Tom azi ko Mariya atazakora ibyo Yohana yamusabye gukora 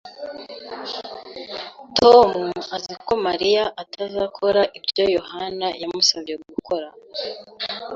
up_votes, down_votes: 2, 0